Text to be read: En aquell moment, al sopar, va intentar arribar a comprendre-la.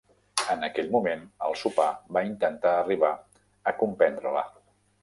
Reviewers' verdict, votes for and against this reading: rejected, 0, 2